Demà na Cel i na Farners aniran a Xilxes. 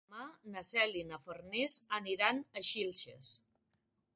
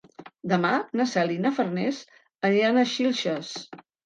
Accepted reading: second